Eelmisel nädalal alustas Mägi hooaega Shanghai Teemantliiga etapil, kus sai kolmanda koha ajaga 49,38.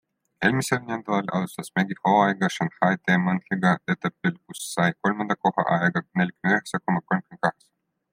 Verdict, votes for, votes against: rejected, 0, 2